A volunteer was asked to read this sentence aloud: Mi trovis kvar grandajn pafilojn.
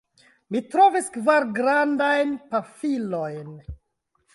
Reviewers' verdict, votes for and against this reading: accepted, 2, 1